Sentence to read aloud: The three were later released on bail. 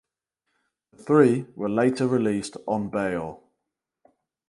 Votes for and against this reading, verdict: 0, 4, rejected